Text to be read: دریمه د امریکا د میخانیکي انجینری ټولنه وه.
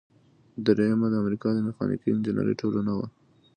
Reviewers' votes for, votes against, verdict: 2, 0, accepted